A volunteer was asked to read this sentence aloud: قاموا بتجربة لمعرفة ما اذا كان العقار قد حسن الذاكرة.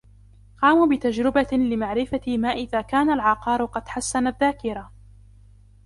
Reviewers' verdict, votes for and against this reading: accepted, 2, 0